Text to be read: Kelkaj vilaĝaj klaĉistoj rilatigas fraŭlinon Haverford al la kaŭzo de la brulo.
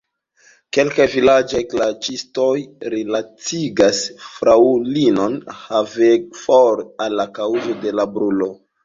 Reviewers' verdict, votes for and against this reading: rejected, 1, 2